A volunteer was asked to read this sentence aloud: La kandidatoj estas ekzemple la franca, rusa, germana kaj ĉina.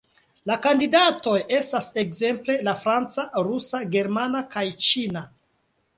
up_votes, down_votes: 2, 0